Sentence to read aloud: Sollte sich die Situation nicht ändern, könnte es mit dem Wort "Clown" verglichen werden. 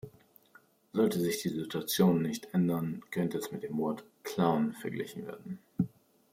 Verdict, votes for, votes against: accepted, 2, 0